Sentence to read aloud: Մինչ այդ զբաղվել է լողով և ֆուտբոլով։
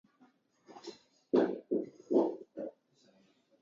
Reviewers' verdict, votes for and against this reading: rejected, 0, 2